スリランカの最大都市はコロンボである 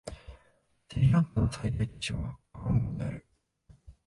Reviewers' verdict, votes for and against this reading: rejected, 1, 3